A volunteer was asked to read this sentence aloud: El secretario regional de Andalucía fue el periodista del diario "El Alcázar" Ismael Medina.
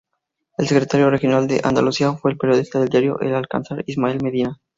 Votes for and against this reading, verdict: 2, 0, accepted